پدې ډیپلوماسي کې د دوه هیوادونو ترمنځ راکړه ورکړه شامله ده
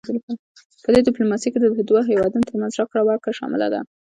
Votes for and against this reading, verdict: 1, 2, rejected